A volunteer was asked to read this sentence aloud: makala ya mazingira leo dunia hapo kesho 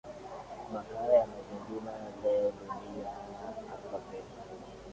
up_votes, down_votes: 0, 2